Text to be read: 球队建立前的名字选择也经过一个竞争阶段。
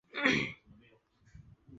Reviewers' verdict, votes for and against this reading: rejected, 0, 4